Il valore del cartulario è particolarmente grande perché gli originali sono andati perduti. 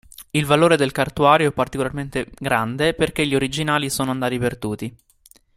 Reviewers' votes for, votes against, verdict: 0, 2, rejected